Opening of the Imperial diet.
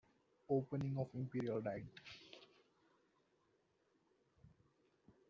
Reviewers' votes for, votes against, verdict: 1, 2, rejected